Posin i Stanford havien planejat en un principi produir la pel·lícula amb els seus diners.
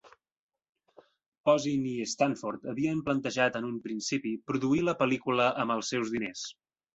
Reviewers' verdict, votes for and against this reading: rejected, 0, 2